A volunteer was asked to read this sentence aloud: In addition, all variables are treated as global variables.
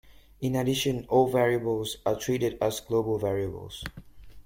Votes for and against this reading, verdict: 2, 0, accepted